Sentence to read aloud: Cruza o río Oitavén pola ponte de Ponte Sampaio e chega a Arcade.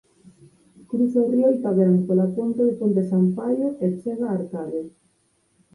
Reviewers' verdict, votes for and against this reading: accepted, 4, 0